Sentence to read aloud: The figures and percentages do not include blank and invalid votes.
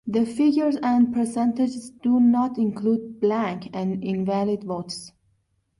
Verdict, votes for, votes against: accepted, 2, 0